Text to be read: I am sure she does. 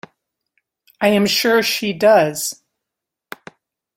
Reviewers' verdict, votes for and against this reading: accepted, 2, 0